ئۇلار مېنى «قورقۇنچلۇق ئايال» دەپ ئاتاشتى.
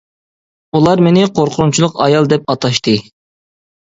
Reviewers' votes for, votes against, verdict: 3, 0, accepted